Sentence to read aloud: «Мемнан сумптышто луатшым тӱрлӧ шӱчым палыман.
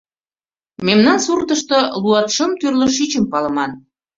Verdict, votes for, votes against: rejected, 1, 2